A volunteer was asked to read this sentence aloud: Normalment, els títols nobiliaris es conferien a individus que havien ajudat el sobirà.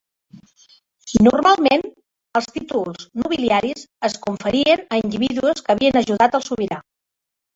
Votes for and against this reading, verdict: 0, 3, rejected